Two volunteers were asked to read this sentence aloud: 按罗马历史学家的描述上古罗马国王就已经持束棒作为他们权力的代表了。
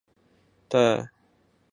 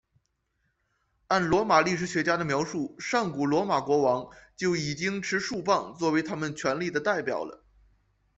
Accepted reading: second